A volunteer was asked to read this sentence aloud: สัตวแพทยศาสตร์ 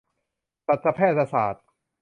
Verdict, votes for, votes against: rejected, 1, 2